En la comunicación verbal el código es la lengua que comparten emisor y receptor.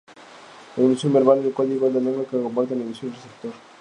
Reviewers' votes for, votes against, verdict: 0, 2, rejected